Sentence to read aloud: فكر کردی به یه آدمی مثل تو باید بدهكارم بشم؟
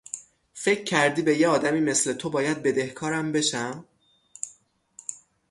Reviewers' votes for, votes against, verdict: 6, 0, accepted